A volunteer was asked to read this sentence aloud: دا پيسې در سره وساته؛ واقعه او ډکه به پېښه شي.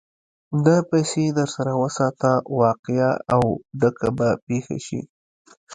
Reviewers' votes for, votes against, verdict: 1, 2, rejected